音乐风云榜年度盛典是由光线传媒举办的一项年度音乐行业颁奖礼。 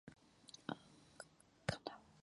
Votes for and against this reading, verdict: 0, 3, rejected